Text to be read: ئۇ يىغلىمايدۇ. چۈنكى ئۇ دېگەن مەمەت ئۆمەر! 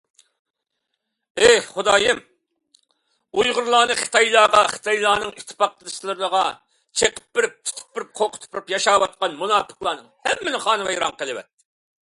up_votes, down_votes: 0, 2